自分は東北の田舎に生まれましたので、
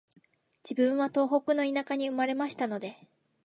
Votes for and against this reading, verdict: 2, 0, accepted